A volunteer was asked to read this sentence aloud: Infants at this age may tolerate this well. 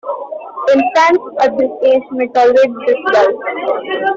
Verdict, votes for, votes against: rejected, 0, 2